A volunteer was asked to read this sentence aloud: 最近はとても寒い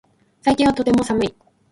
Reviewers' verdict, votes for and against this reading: accepted, 2, 0